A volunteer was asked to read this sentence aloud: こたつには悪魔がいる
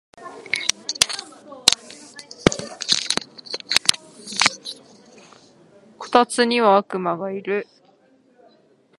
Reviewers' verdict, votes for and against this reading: rejected, 1, 3